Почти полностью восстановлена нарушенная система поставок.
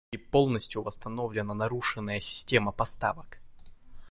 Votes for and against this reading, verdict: 1, 2, rejected